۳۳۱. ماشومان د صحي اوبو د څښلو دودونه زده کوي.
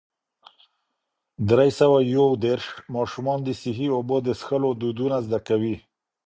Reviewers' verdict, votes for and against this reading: rejected, 0, 2